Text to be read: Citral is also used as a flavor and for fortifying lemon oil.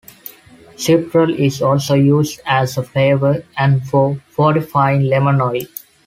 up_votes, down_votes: 2, 1